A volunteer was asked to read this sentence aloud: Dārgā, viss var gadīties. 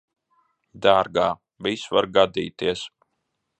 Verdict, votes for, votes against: rejected, 0, 2